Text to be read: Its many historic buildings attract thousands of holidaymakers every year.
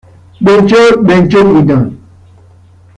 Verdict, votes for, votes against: rejected, 0, 2